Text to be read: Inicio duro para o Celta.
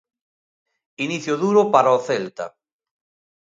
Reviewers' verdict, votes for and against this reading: accepted, 2, 0